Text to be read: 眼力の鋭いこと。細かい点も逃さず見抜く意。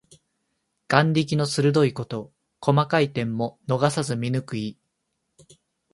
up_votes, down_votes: 2, 0